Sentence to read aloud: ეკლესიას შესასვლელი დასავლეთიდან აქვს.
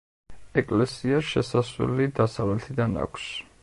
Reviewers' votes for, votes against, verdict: 2, 0, accepted